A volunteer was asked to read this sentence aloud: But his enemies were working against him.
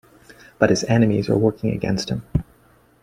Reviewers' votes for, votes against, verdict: 2, 0, accepted